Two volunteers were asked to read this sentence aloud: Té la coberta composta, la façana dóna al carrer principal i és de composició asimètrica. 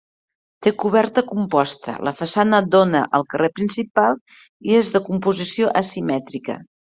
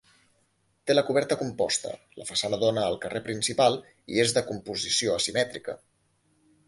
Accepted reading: second